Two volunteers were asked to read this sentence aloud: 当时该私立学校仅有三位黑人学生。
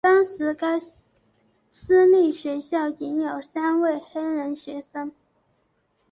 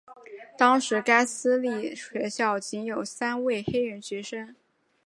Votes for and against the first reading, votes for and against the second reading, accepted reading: 1, 3, 2, 0, second